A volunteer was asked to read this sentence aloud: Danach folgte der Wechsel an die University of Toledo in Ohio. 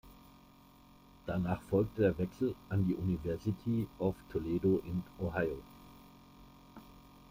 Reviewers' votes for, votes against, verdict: 2, 0, accepted